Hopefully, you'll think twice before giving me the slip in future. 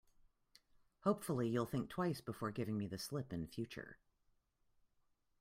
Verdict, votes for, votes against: accepted, 2, 0